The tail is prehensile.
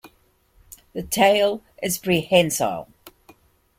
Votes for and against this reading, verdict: 2, 1, accepted